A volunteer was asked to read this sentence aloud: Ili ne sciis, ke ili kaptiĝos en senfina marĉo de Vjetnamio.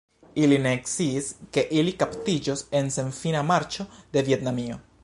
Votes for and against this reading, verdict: 1, 2, rejected